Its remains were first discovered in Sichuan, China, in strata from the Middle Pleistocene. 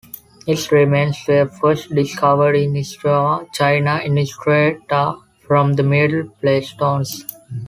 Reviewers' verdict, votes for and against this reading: rejected, 1, 2